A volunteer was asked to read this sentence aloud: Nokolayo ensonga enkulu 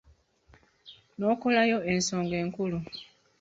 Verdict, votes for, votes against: rejected, 1, 2